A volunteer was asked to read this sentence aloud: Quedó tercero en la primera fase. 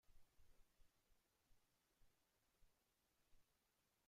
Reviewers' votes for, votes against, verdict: 0, 2, rejected